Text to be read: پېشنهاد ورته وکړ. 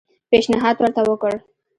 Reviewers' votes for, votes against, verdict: 1, 2, rejected